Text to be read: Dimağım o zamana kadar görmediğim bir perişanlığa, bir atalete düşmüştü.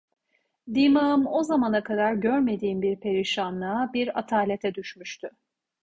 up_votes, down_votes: 2, 0